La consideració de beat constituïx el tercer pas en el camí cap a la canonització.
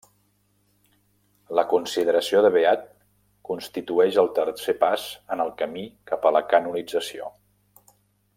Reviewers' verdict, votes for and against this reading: rejected, 0, 2